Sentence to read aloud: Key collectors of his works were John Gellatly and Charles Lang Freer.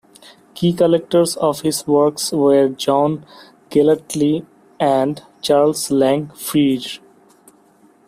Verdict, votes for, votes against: rejected, 1, 2